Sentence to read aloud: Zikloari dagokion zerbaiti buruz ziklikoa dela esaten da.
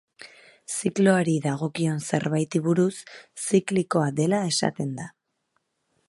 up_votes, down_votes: 2, 0